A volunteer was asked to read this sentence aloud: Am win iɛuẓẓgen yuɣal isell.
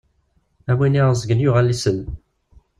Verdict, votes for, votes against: accepted, 2, 0